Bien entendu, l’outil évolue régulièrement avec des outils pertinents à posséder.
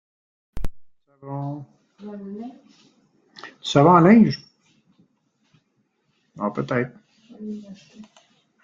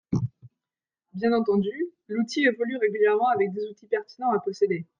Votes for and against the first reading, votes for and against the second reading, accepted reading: 0, 2, 2, 0, second